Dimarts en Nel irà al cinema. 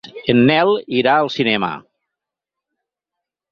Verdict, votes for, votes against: rejected, 0, 4